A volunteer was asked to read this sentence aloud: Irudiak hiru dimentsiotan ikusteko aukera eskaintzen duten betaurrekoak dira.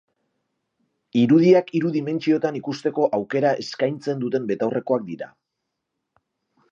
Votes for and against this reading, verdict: 2, 0, accepted